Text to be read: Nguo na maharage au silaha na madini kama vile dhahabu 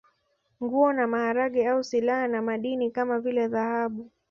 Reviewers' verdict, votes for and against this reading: accepted, 2, 1